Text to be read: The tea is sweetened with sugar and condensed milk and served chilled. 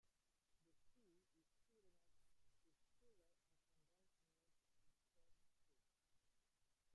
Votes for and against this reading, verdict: 0, 2, rejected